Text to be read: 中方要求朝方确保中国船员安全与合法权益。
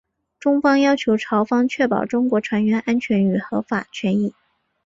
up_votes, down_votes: 1, 2